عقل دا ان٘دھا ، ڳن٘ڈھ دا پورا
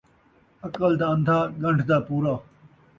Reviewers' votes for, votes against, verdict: 2, 0, accepted